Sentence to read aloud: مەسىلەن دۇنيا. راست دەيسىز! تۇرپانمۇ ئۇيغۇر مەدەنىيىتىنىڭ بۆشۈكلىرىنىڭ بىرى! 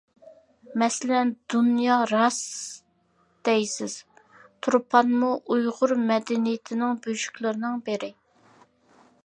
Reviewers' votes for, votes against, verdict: 2, 0, accepted